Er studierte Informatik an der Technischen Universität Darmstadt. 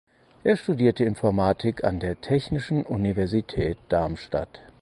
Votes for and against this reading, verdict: 4, 0, accepted